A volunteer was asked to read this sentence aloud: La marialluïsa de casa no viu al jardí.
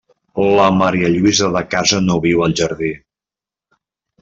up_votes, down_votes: 2, 0